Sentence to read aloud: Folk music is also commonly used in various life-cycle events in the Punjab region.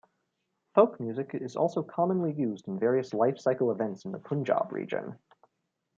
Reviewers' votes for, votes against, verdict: 2, 0, accepted